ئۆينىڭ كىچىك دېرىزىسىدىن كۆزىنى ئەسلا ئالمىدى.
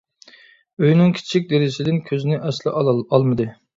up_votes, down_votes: 0, 2